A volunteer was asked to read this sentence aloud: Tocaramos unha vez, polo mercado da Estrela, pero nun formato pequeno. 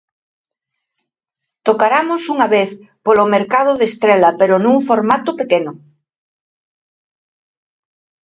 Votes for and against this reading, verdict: 1, 2, rejected